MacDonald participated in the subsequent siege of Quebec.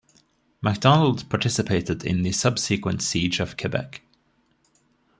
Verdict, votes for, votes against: accepted, 2, 0